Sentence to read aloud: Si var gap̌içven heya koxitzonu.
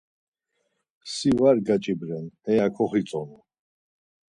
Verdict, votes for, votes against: rejected, 0, 4